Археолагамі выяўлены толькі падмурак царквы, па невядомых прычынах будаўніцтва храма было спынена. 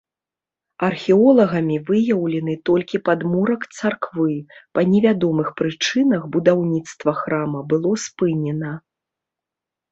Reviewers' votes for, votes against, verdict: 2, 0, accepted